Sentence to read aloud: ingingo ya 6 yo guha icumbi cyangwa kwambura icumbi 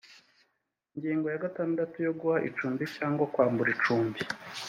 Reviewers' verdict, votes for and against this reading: rejected, 0, 2